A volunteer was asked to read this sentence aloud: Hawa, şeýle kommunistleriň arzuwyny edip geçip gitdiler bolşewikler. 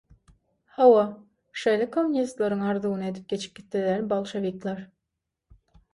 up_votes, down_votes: 6, 0